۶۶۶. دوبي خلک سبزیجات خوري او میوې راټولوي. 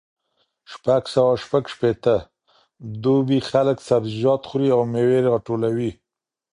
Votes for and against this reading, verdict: 0, 2, rejected